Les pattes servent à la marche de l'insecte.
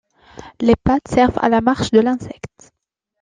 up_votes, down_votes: 2, 0